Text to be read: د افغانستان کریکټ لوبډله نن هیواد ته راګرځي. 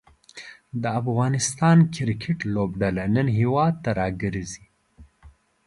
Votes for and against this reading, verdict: 2, 0, accepted